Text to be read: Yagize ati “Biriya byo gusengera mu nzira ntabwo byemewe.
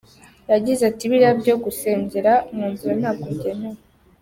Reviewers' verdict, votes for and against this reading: accepted, 2, 0